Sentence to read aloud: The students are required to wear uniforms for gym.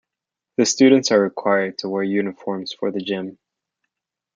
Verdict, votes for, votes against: rejected, 1, 2